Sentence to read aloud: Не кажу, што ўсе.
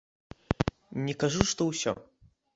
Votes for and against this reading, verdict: 2, 0, accepted